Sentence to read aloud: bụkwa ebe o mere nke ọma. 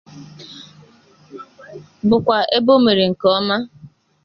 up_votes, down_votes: 2, 0